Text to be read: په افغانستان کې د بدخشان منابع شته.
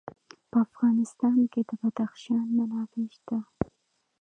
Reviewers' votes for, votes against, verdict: 0, 2, rejected